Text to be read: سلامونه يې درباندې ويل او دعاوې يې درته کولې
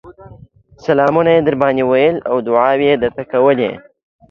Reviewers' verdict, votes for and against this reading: accepted, 2, 0